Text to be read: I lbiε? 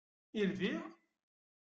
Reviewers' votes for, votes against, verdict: 0, 2, rejected